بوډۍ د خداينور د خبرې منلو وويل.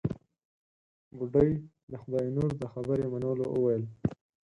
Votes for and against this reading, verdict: 0, 6, rejected